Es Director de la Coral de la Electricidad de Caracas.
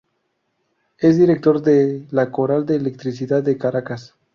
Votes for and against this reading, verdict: 2, 2, rejected